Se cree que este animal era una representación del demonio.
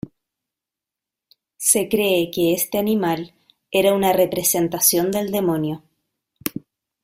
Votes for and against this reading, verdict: 2, 0, accepted